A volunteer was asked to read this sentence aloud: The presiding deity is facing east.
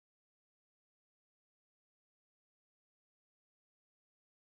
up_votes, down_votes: 0, 2